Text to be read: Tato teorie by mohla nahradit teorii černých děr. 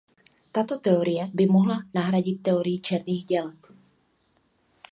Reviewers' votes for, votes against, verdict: 0, 2, rejected